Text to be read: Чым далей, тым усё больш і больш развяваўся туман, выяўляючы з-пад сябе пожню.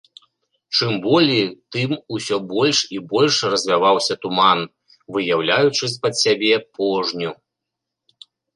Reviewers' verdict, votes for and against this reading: rejected, 0, 2